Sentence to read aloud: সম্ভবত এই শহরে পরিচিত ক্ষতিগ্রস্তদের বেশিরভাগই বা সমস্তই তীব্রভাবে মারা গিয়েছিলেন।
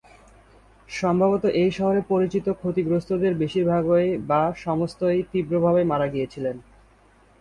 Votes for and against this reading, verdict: 5, 0, accepted